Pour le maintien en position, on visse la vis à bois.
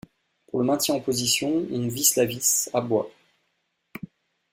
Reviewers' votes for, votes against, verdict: 1, 2, rejected